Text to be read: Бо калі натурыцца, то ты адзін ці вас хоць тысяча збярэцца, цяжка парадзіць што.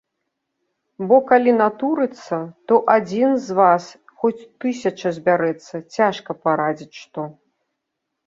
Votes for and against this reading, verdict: 2, 3, rejected